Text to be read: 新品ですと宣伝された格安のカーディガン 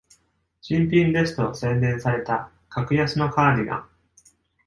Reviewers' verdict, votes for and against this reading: accepted, 2, 0